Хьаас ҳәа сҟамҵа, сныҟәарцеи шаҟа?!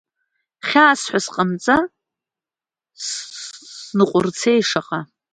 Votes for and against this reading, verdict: 0, 2, rejected